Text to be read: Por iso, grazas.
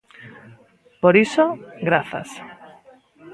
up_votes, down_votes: 1, 2